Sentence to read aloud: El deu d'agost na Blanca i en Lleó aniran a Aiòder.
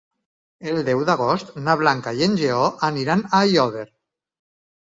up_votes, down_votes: 4, 2